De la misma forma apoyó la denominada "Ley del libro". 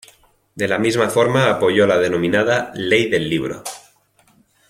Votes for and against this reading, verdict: 2, 0, accepted